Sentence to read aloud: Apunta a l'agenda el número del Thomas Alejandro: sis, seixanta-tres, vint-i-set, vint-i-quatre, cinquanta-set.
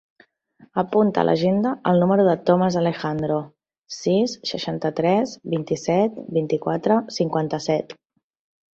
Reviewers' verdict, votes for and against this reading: accepted, 2, 1